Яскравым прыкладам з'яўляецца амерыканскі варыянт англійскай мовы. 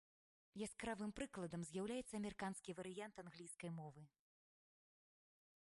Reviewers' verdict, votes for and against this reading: rejected, 1, 2